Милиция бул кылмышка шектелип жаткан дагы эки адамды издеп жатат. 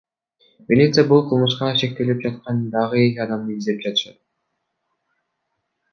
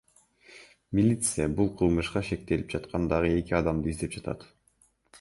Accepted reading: second